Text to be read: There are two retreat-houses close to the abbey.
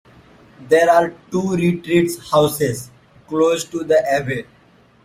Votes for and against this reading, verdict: 0, 2, rejected